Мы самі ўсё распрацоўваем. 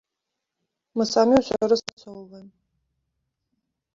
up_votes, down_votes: 0, 2